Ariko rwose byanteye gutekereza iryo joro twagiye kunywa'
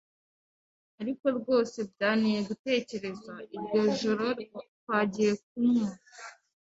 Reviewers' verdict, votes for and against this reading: accepted, 2, 0